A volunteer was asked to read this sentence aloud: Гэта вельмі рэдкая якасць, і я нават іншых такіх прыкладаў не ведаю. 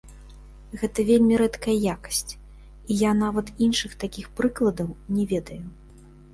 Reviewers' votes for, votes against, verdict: 3, 0, accepted